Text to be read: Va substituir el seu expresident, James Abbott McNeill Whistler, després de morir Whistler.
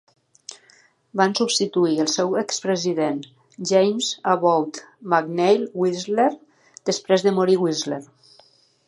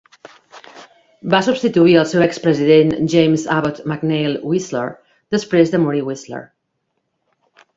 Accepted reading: second